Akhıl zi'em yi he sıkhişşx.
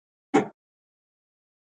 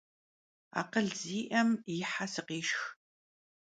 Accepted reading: second